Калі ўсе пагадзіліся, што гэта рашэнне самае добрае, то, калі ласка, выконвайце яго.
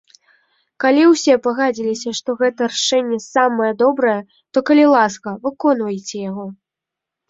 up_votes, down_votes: 0, 2